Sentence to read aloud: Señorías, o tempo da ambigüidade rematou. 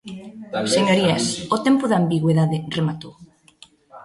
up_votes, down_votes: 2, 0